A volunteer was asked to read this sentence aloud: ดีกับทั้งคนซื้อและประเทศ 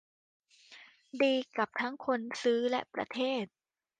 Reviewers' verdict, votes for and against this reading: accepted, 2, 0